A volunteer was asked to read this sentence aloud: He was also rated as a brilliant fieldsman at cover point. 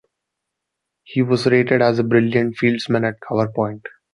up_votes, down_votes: 0, 2